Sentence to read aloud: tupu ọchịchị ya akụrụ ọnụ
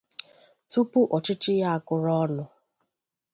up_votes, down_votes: 2, 0